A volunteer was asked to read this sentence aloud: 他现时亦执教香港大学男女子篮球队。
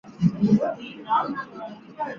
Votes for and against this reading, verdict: 0, 2, rejected